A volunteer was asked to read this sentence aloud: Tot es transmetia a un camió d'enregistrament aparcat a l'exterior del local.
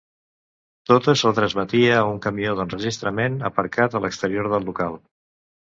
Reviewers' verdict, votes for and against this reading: rejected, 1, 2